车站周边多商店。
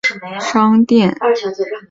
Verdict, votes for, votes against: rejected, 1, 2